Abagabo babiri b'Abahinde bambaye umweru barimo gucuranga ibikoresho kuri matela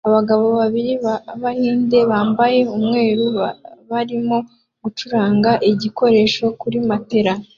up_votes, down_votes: 2, 0